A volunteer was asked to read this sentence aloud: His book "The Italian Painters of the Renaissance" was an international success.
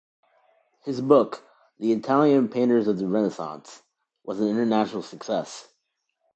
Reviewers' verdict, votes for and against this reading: accepted, 2, 0